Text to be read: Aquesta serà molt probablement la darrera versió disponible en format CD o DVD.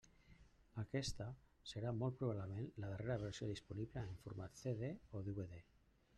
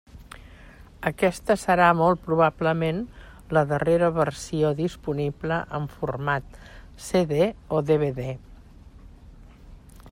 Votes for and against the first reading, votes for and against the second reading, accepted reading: 1, 2, 3, 0, second